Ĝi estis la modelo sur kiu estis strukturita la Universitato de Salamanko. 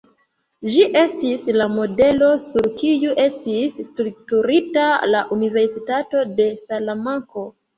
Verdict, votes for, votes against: accepted, 2, 1